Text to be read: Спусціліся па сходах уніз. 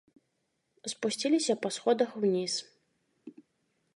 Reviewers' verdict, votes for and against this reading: accepted, 2, 0